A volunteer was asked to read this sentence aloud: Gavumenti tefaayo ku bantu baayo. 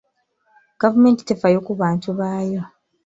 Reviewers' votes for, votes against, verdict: 2, 0, accepted